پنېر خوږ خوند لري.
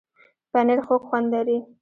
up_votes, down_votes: 2, 1